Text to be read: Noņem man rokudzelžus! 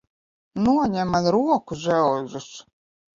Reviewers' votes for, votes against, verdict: 0, 2, rejected